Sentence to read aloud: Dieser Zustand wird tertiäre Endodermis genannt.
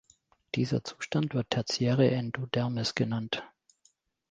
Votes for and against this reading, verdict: 2, 1, accepted